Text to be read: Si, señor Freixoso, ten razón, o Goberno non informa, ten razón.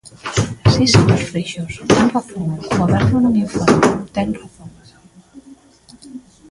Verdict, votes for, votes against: rejected, 0, 2